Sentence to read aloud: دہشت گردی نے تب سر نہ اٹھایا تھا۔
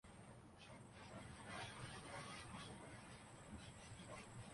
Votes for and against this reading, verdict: 1, 2, rejected